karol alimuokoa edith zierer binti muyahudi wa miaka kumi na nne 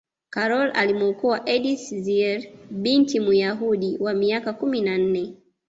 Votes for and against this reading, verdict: 2, 1, accepted